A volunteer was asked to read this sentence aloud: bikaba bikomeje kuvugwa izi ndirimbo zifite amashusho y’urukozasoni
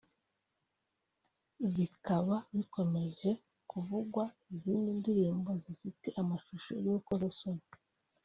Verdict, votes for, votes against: accepted, 2, 0